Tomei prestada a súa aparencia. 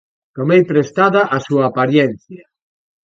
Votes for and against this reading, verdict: 1, 2, rejected